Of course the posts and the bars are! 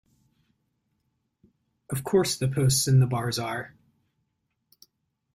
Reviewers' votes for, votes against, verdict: 2, 0, accepted